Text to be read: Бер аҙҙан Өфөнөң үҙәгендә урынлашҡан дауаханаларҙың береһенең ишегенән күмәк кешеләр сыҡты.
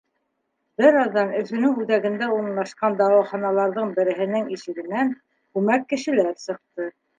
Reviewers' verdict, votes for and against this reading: rejected, 0, 2